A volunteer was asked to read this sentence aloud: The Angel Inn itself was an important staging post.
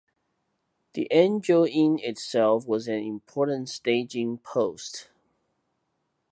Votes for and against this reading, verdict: 2, 0, accepted